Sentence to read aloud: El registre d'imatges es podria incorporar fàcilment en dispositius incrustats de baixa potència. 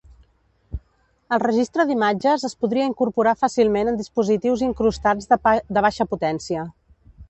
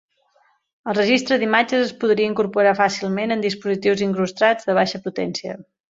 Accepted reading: second